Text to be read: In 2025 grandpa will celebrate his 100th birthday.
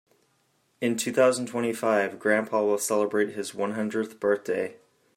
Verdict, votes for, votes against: rejected, 0, 2